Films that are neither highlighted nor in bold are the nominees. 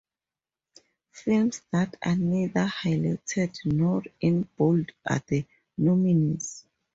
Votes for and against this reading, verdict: 2, 0, accepted